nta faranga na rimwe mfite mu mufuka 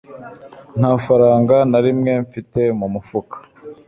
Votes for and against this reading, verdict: 3, 0, accepted